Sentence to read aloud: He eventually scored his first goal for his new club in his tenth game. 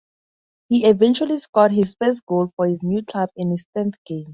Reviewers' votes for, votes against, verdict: 4, 2, accepted